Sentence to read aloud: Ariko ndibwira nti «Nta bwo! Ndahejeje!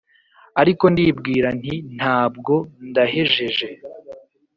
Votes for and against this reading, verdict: 3, 0, accepted